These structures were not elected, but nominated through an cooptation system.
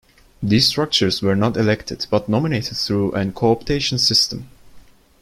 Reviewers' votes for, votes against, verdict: 1, 2, rejected